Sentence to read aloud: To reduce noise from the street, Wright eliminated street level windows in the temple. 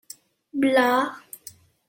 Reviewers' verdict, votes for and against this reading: rejected, 0, 2